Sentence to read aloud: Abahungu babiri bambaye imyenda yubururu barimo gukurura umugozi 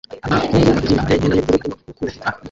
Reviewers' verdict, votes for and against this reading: rejected, 0, 2